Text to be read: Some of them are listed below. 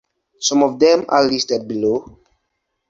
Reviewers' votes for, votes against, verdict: 2, 0, accepted